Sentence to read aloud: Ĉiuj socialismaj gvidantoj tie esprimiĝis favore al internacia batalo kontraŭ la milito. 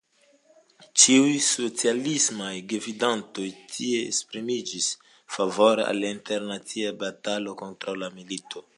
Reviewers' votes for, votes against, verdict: 2, 0, accepted